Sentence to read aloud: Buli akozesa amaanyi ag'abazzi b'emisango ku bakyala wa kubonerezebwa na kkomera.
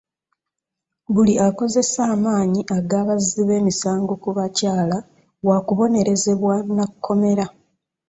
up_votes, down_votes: 2, 0